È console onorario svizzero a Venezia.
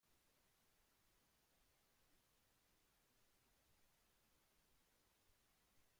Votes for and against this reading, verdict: 0, 2, rejected